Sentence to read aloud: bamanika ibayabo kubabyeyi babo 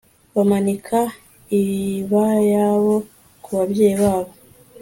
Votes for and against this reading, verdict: 2, 0, accepted